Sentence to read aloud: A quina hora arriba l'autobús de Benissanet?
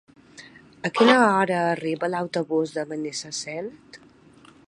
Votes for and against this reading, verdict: 2, 1, accepted